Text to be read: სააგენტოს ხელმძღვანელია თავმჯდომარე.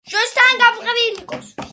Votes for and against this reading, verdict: 0, 2, rejected